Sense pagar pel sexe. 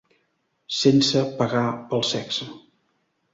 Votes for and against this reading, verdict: 2, 0, accepted